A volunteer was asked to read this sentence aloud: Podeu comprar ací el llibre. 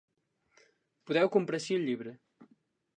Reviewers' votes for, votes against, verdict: 2, 0, accepted